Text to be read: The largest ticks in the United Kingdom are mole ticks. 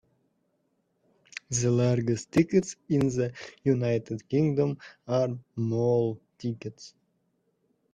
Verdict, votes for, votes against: rejected, 0, 2